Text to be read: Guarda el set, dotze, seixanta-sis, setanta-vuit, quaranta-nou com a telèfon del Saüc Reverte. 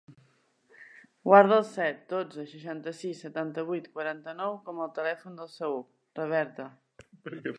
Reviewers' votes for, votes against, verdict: 2, 4, rejected